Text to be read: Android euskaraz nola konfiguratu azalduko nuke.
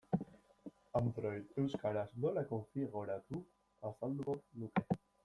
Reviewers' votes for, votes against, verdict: 0, 2, rejected